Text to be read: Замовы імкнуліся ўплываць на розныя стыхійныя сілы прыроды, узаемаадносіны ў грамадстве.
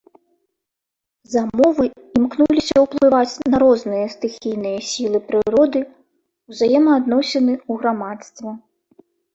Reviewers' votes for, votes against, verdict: 2, 0, accepted